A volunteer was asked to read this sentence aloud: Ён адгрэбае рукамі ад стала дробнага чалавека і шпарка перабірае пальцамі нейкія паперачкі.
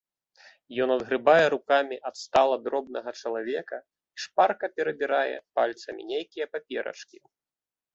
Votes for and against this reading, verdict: 1, 2, rejected